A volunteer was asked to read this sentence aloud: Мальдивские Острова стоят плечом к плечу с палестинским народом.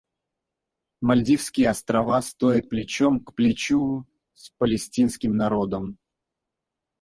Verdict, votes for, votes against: rejected, 0, 4